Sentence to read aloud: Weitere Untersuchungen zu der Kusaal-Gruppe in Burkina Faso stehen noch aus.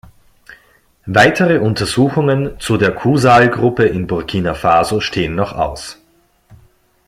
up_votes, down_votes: 2, 0